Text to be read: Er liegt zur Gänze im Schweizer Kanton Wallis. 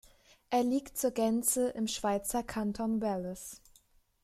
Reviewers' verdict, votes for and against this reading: rejected, 1, 2